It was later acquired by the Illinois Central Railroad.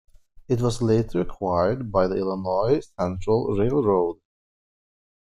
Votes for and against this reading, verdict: 2, 0, accepted